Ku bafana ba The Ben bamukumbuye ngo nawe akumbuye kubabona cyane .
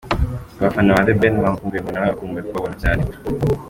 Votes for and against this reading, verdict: 3, 1, accepted